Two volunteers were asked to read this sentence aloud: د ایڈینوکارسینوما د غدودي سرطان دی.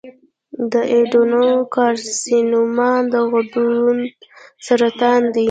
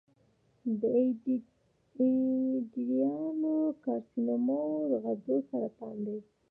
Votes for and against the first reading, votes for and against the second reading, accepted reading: 1, 2, 3, 0, second